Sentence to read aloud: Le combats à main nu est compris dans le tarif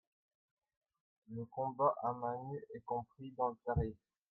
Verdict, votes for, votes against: rejected, 0, 2